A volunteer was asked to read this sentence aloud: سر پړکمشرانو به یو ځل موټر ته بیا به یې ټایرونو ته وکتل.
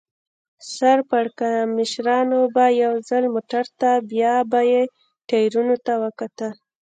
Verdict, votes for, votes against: accepted, 3, 0